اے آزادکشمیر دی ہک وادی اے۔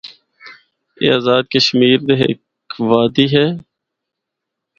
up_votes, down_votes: 4, 0